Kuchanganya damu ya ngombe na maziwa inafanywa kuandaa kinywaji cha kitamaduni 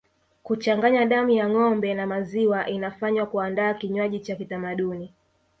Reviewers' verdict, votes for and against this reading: accepted, 2, 0